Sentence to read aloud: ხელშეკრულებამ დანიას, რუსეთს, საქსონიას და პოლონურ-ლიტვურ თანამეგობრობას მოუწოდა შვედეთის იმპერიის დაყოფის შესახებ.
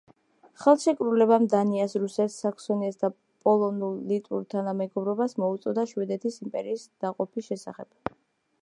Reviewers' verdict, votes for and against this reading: accepted, 2, 0